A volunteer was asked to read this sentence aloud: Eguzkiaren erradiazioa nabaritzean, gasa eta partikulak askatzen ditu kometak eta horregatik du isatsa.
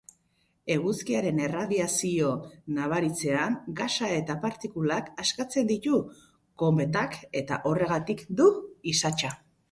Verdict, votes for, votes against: rejected, 0, 4